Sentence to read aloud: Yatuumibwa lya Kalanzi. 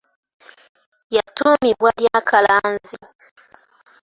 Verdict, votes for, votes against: accepted, 2, 1